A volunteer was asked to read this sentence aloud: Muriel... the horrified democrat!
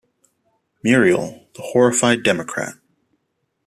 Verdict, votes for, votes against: rejected, 1, 2